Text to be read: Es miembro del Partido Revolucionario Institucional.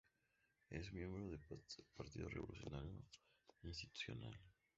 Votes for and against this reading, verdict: 2, 0, accepted